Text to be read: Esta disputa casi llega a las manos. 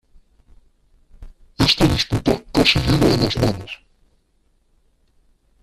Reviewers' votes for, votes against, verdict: 0, 2, rejected